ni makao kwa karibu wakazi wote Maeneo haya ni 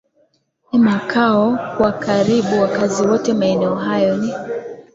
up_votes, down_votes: 3, 2